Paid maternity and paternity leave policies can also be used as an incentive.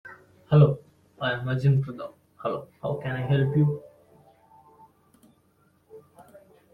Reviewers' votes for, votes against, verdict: 1, 2, rejected